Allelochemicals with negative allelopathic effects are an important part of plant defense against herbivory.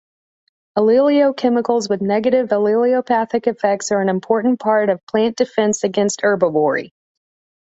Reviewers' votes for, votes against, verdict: 1, 2, rejected